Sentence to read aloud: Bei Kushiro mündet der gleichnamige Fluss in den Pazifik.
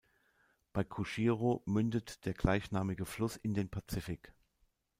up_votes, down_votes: 2, 0